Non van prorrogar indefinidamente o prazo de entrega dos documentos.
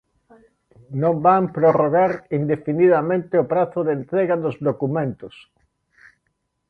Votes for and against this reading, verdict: 0, 2, rejected